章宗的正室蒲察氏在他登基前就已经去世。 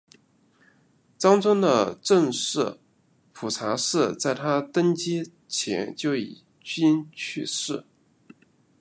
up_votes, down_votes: 2, 1